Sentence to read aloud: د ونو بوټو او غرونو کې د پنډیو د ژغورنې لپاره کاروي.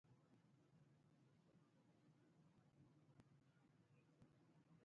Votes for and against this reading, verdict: 1, 2, rejected